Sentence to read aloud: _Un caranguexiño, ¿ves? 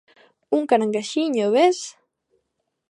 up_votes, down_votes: 2, 0